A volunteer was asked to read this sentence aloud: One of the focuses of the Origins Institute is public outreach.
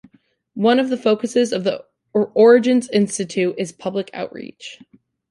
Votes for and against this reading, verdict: 0, 2, rejected